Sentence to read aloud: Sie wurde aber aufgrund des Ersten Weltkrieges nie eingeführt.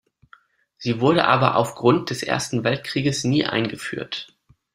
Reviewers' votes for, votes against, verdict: 2, 0, accepted